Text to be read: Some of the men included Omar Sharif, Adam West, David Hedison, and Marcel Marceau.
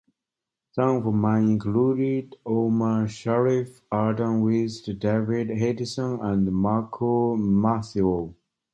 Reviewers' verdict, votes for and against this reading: rejected, 1, 2